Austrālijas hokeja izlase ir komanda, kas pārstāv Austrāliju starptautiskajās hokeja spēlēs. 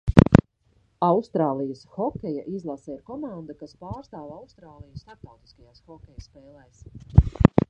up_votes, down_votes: 1, 2